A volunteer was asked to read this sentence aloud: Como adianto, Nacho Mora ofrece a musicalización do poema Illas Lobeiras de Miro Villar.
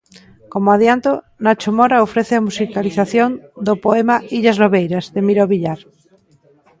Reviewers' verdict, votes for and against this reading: accepted, 2, 1